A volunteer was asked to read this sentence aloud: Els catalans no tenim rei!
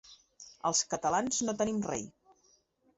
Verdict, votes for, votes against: accepted, 3, 0